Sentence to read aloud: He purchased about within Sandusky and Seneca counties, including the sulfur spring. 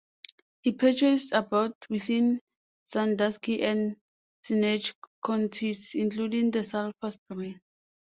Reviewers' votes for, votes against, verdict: 0, 2, rejected